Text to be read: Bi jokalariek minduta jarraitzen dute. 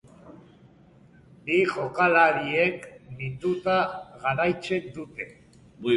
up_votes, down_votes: 3, 2